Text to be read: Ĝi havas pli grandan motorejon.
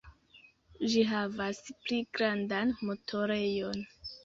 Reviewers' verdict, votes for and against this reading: accepted, 2, 0